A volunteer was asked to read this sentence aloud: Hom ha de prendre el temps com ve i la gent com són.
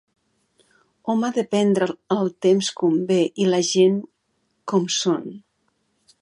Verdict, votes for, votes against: rejected, 0, 2